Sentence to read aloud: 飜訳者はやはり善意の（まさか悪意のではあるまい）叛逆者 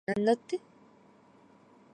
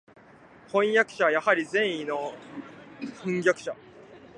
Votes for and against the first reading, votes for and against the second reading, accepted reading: 0, 2, 2, 0, second